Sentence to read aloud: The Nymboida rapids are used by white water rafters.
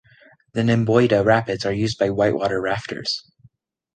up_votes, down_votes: 2, 0